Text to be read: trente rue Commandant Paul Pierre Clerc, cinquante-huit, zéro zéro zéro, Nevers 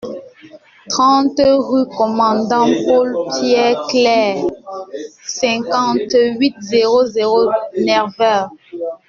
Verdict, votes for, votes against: rejected, 1, 2